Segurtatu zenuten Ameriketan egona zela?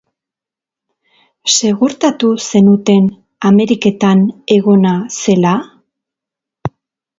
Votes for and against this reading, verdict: 2, 0, accepted